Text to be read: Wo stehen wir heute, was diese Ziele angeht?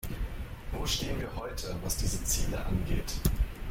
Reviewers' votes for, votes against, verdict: 0, 2, rejected